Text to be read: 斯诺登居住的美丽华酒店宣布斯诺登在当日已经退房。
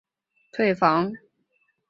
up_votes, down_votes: 0, 4